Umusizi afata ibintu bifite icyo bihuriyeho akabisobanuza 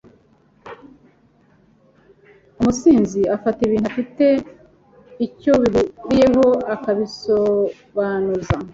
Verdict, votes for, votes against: rejected, 0, 2